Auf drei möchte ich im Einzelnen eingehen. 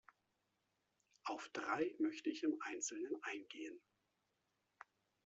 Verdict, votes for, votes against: accepted, 2, 0